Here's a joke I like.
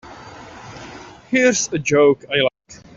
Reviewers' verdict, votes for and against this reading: accepted, 2, 0